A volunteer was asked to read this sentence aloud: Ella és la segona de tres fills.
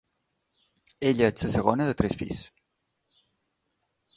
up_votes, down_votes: 0, 2